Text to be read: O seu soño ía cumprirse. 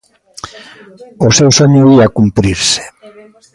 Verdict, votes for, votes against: accepted, 2, 1